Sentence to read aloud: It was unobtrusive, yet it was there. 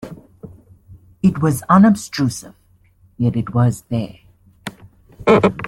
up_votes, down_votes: 1, 2